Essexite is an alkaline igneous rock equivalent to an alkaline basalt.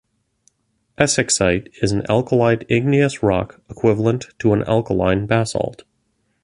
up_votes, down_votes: 1, 2